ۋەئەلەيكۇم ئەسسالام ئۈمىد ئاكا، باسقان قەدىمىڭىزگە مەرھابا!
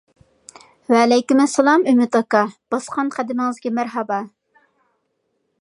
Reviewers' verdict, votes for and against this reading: accepted, 2, 0